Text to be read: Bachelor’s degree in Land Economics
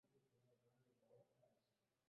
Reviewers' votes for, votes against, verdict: 0, 2, rejected